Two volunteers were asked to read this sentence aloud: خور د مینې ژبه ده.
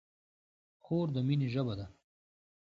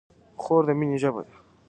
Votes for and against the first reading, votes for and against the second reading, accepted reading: 2, 0, 1, 2, first